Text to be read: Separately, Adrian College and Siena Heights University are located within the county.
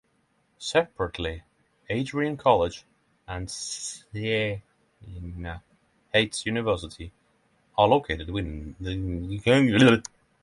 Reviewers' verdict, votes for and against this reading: rejected, 0, 6